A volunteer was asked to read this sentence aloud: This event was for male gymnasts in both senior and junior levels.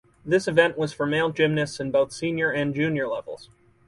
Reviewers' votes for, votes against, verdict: 4, 0, accepted